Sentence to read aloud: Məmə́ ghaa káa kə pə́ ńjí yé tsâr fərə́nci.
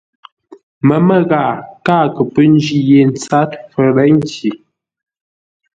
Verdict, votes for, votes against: accepted, 2, 0